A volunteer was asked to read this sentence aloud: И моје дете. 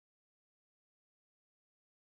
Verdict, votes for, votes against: rejected, 0, 2